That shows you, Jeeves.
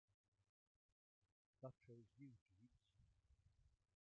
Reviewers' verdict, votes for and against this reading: rejected, 0, 2